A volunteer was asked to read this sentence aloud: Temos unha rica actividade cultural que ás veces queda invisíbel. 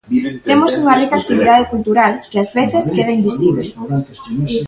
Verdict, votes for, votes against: rejected, 0, 2